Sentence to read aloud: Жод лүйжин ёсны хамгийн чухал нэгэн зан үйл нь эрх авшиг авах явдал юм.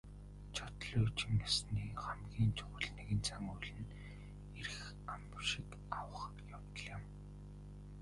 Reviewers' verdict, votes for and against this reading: rejected, 1, 2